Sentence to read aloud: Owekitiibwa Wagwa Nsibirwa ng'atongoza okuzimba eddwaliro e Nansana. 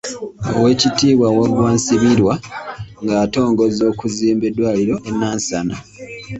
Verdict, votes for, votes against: rejected, 1, 2